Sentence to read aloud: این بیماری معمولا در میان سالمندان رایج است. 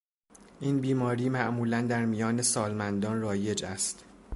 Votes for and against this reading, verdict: 5, 0, accepted